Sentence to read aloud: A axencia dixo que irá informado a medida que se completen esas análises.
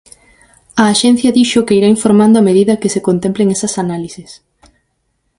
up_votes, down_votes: 0, 4